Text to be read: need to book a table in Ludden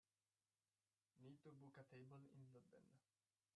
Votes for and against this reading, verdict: 0, 2, rejected